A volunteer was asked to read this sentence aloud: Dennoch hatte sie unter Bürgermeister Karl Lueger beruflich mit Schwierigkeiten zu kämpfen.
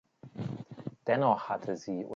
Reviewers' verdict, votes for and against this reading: rejected, 0, 2